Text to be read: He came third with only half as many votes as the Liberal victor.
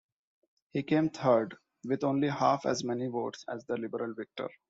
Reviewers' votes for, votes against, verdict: 2, 0, accepted